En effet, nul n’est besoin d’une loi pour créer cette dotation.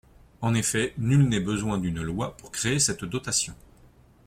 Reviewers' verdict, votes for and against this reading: accepted, 3, 0